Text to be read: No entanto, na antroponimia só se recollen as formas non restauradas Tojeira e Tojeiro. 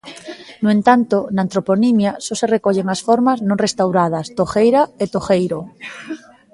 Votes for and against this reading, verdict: 2, 0, accepted